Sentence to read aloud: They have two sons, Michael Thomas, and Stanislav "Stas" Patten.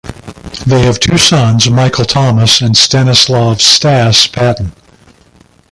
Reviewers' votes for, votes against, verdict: 2, 0, accepted